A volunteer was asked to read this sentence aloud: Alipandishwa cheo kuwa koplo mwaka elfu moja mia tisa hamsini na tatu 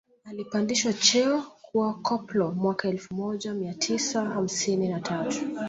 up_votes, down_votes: 2, 0